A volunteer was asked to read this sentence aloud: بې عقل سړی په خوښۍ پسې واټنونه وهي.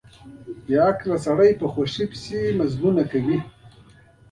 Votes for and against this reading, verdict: 2, 1, accepted